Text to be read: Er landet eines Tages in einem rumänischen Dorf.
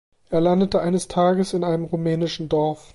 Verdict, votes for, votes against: rejected, 0, 2